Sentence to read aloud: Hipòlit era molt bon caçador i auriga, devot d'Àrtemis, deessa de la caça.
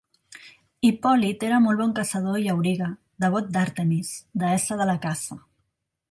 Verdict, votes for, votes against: accepted, 2, 0